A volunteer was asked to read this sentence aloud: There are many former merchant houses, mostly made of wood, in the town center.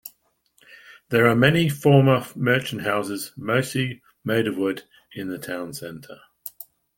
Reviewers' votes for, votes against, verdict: 2, 0, accepted